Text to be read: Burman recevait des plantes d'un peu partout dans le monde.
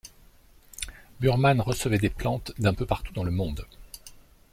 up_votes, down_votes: 2, 0